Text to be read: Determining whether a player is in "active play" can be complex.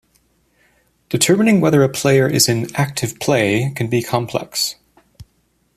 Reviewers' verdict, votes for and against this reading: accepted, 2, 0